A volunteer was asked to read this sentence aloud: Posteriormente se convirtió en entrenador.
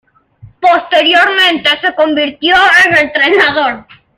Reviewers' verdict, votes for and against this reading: rejected, 0, 2